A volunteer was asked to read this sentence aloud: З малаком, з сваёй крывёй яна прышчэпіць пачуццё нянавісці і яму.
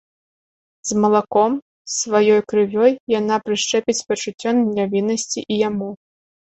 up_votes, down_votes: 0, 2